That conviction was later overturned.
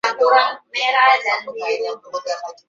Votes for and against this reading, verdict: 0, 2, rejected